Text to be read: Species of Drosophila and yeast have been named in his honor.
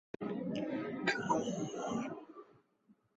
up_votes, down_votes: 0, 2